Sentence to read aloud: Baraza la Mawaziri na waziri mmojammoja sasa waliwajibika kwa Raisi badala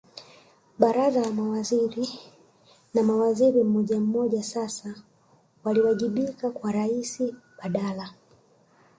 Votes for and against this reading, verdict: 0, 2, rejected